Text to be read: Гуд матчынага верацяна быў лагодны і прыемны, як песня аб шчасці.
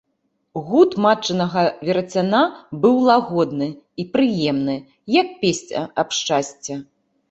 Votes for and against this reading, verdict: 2, 1, accepted